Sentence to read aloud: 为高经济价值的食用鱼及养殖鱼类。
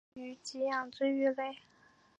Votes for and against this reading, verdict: 1, 2, rejected